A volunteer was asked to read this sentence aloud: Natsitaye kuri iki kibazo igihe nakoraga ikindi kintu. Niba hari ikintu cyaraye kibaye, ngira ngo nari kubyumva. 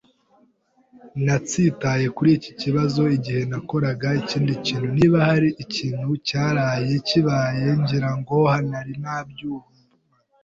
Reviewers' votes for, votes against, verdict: 0, 2, rejected